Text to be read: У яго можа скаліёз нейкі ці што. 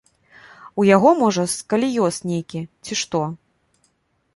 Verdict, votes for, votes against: accepted, 2, 0